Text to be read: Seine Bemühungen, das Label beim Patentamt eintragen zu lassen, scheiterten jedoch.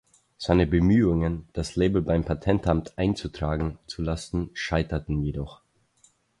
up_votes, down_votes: 0, 4